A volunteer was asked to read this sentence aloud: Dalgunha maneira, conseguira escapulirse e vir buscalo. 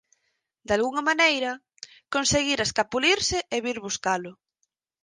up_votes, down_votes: 4, 0